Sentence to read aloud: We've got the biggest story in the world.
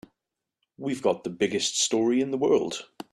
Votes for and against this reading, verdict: 4, 0, accepted